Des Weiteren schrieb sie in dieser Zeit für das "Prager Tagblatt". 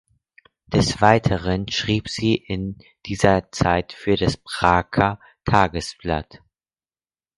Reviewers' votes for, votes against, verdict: 0, 4, rejected